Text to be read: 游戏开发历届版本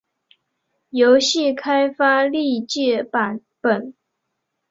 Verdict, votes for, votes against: accepted, 9, 0